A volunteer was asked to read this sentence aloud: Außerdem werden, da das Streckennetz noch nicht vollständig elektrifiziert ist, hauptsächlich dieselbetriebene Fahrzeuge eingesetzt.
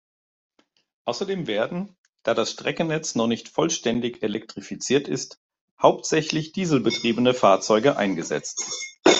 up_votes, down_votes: 0, 2